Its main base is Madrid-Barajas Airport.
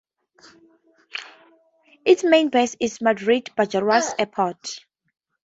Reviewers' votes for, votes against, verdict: 4, 2, accepted